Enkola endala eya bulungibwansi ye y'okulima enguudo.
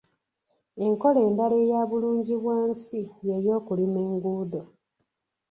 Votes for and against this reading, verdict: 0, 2, rejected